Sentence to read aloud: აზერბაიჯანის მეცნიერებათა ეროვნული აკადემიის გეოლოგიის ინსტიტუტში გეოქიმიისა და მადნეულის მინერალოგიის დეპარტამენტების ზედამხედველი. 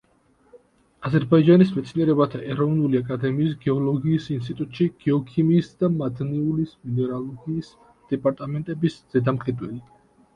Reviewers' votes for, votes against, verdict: 0, 2, rejected